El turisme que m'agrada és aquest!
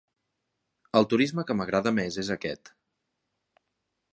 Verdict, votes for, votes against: rejected, 0, 2